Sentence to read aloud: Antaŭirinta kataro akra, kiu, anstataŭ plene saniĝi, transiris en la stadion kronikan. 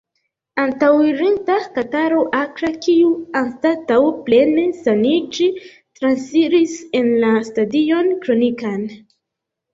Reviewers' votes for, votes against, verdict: 2, 0, accepted